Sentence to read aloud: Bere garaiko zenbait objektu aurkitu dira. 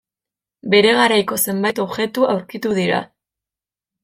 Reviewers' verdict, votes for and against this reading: accepted, 2, 0